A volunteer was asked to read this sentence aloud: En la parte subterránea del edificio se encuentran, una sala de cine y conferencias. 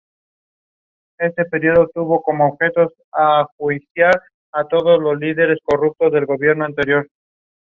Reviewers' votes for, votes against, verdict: 0, 2, rejected